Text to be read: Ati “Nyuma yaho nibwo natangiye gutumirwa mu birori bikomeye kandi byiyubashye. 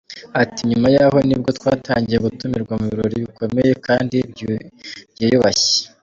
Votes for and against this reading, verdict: 1, 2, rejected